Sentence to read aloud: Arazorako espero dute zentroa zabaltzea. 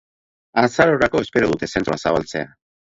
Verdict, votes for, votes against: rejected, 0, 2